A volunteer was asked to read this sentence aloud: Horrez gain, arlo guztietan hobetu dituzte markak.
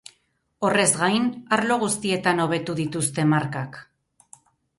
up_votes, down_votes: 2, 0